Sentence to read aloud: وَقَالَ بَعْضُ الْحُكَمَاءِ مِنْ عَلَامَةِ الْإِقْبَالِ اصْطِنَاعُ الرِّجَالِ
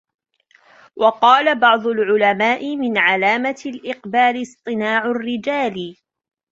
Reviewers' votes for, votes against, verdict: 0, 2, rejected